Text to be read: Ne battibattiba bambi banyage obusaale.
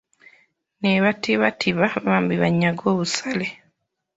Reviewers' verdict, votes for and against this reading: rejected, 1, 2